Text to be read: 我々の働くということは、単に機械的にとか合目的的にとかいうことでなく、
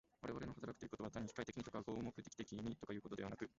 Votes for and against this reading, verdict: 0, 2, rejected